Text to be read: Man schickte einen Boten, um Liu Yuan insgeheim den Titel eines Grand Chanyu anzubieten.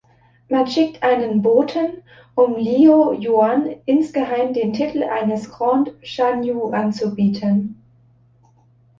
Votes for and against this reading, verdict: 1, 2, rejected